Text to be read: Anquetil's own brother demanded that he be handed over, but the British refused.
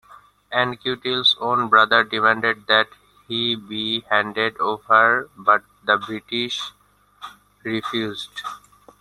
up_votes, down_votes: 1, 2